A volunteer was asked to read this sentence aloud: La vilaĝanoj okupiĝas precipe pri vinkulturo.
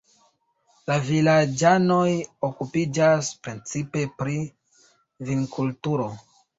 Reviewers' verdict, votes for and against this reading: rejected, 1, 2